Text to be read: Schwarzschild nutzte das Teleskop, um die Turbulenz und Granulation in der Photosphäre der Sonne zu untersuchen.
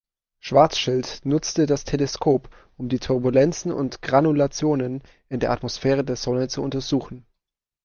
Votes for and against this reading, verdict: 0, 2, rejected